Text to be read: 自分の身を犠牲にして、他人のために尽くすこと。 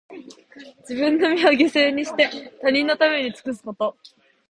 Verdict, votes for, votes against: accepted, 2, 0